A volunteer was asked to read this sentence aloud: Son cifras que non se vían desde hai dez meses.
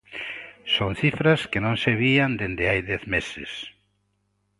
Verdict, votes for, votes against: rejected, 1, 2